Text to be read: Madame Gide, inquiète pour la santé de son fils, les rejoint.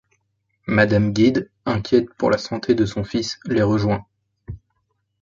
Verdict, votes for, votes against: rejected, 1, 2